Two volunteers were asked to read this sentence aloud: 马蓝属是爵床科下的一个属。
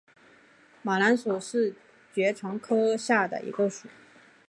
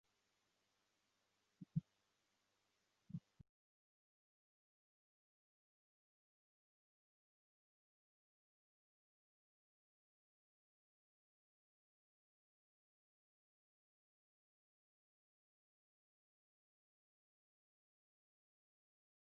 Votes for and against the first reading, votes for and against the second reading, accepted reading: 2, 1, 0, 4, first